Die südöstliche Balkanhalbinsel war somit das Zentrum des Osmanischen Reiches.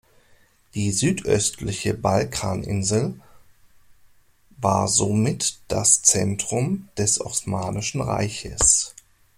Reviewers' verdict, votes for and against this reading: rejected, 0, 2